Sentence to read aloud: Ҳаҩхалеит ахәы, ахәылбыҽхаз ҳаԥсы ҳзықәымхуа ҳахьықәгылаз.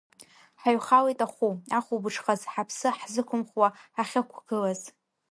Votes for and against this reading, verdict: 3, 0, accepted